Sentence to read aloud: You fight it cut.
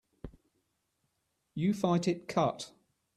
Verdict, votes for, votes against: accepted, 2, 0